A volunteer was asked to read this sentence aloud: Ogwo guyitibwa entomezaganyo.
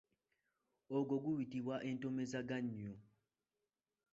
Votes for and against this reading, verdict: 0, 2, rejected